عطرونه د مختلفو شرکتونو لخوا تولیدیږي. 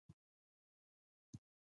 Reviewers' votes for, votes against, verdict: 1, 2, rejected